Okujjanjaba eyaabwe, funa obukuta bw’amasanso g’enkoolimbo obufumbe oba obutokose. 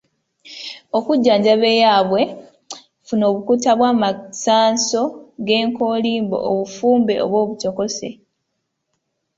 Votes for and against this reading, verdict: 2, 0, accepted